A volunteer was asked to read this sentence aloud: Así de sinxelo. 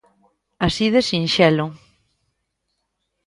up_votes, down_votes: 2, 0